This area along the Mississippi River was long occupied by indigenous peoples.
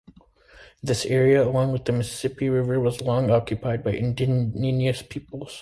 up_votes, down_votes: 0, 2